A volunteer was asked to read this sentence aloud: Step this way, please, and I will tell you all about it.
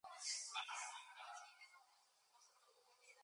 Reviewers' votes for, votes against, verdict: 0, 2, rejected